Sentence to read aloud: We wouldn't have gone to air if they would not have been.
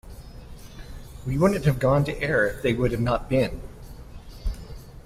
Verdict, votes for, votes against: rejected, 1, 2